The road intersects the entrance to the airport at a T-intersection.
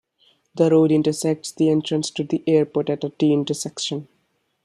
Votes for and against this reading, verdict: 2, 0, accepted